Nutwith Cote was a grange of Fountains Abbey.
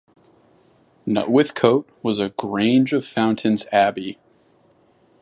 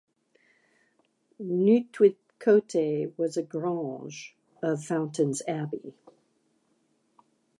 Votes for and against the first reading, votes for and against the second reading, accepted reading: 2, 0, 1, 2, first